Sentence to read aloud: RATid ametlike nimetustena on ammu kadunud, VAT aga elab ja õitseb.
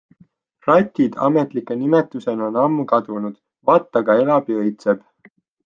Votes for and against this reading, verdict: 2, 0, accepted